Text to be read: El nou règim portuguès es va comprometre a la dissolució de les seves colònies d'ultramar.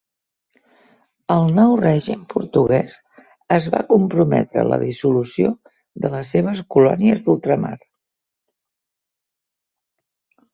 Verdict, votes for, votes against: accepted, 2, 0